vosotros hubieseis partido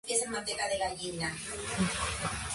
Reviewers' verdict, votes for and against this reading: rejected, 0, 2